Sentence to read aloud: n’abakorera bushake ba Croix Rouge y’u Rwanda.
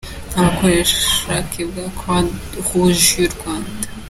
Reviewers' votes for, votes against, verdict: 1, 2, rejected